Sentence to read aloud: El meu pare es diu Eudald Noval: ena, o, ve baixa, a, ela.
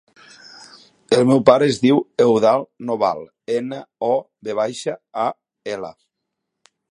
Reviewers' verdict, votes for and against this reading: accepted, 3, 0